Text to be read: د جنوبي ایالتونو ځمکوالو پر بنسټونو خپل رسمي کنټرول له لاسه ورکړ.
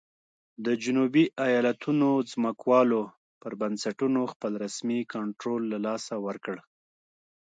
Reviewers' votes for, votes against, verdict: 2, 1, accepted